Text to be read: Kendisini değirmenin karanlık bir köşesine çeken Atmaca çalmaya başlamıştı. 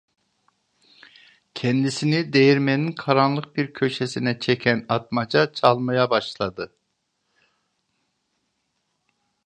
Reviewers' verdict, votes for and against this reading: rejected, 1, 2